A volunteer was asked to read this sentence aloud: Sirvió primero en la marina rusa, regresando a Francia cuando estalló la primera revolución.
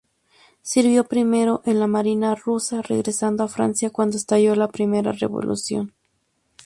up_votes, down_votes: 0, 2